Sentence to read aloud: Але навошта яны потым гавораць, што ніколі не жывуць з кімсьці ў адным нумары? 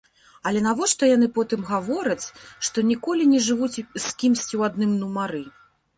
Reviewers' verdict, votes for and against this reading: rejected, 1, 2